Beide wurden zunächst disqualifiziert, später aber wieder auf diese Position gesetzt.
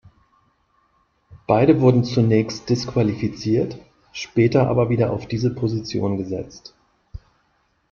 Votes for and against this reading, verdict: 2, 0, accepted